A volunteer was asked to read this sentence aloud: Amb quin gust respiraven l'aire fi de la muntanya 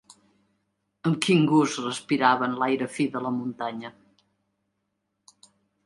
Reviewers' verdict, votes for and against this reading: accepted, 2, 0